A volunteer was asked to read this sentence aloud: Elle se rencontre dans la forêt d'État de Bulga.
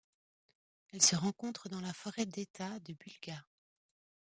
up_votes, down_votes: 2, 0